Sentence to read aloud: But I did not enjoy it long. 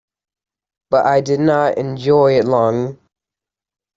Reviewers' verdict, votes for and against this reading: accepted, 2, 0